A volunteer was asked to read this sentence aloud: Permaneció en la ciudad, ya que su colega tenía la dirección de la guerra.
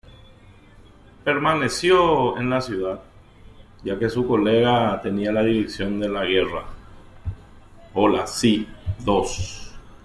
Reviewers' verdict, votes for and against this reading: rejected, 1, 2